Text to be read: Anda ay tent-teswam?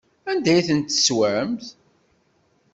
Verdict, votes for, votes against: rejected, 1, 2